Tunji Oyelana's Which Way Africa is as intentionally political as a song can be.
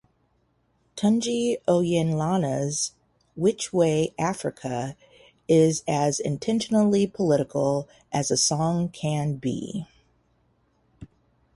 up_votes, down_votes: 2, 0